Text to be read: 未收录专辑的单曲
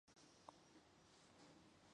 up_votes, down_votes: 1, 2